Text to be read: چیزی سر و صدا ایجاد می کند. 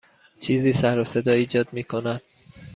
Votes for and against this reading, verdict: 2, 0, accepted